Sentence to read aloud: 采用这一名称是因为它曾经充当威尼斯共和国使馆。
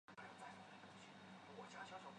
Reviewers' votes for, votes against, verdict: 2, 0, accepted